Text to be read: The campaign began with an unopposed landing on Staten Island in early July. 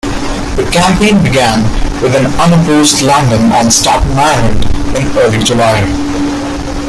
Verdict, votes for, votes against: accepted, 2, 0